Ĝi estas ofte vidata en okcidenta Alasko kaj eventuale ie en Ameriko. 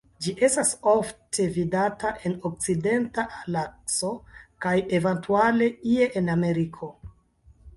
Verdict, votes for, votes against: rejected, 1, 2